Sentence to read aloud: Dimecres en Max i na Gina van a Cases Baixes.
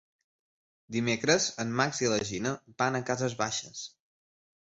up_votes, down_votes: 2, 0